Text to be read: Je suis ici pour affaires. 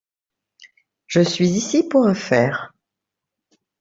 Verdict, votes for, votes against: accepted, 2, 0